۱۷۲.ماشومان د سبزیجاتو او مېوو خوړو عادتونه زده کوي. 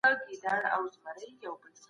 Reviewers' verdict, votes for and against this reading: rejected, 0, 2